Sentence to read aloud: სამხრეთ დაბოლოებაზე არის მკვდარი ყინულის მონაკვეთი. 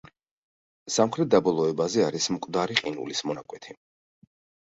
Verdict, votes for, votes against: accepted, 2, 0